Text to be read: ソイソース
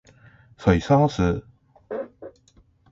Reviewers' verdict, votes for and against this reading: rejected, 0, 2